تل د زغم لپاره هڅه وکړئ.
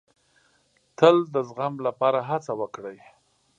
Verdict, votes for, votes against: accepted, 3, 0